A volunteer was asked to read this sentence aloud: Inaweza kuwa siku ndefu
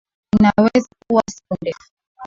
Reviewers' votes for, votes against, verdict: 3, 4, rejected